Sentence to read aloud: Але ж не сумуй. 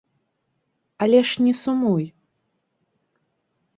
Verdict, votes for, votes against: rejected, 1, 2